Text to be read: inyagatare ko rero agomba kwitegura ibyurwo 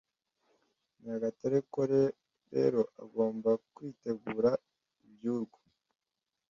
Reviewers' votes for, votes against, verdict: 1, 2, rejected